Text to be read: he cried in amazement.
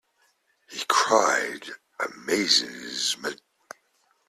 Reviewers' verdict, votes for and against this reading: rejected, 0, 3